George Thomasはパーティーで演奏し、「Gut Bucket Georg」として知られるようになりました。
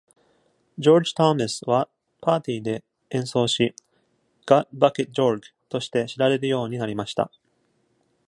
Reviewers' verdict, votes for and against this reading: accepted, 2, 0